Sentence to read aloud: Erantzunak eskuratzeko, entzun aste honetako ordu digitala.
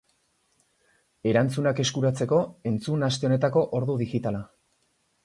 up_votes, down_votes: 2, 0